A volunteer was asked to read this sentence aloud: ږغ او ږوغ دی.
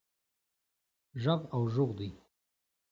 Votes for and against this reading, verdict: 2, 0, accepted